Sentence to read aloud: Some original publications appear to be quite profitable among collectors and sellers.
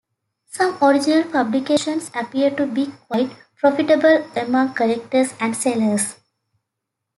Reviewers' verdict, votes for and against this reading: accepted, 2, 1